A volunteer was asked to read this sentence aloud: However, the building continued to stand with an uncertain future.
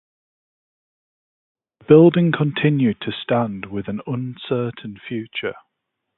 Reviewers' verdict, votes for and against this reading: rejected, 0, 4